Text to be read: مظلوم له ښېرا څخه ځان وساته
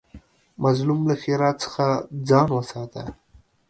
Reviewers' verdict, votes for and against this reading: accepted, 2, 0